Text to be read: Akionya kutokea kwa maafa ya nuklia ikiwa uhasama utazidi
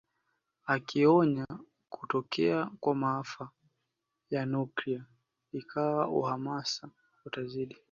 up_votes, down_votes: 1, 2